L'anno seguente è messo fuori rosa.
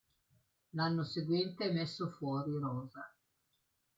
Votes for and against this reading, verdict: 2, 0, accepted